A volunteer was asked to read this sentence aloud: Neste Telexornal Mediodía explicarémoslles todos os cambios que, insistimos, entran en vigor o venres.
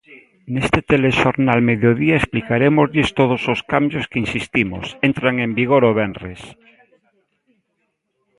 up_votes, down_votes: 2, 0